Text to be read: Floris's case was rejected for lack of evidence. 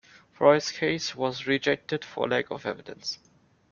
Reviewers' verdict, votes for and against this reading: accepted, 2, 0